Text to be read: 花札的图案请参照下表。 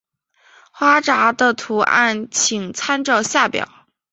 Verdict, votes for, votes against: accepted, 4, 0